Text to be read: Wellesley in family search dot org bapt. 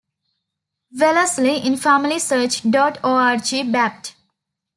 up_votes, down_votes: 0, 2